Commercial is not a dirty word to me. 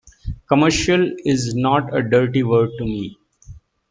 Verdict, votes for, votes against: accepted, 2, 1